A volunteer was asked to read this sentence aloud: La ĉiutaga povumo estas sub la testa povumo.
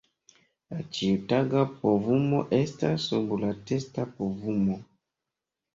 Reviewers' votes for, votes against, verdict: 2, 0, accepted